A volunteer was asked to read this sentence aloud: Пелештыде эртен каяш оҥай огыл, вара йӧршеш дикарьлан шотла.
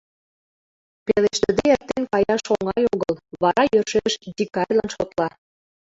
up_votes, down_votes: 0, 2